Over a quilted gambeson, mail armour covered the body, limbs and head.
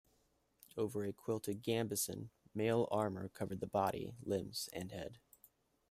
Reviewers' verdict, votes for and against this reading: accepted, 2, 0